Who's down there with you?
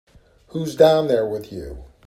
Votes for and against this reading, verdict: 2, 0, accepted